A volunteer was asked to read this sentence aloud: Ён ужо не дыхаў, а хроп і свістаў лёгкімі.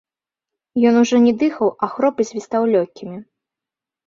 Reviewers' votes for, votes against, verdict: 2, 0, accepted